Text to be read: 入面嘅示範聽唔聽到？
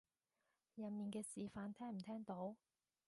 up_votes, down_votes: 2, 0